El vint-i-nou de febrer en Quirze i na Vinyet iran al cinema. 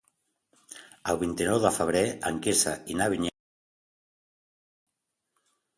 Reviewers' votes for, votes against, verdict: 1, 2, rejected